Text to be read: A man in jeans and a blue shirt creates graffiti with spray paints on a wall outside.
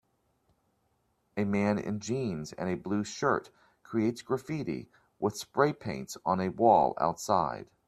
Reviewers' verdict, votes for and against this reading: accepted, 2, 0